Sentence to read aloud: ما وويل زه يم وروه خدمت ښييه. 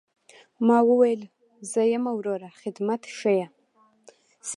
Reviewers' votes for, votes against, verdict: 2, 0, accepted